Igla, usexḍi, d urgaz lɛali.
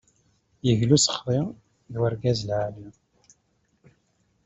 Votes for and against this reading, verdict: 2, 0, accepted